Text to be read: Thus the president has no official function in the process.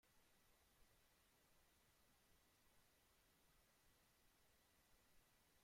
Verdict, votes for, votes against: rejected, 0, 2